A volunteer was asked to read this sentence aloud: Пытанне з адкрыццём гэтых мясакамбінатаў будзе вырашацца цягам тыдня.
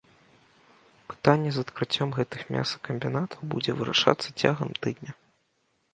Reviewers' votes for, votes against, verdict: 2, 0, accepted